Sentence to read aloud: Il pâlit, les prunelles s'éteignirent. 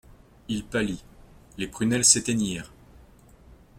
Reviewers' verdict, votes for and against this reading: accepted, 3, 0